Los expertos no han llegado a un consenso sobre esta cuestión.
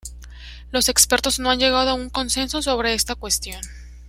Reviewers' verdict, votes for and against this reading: accepted, 2, 0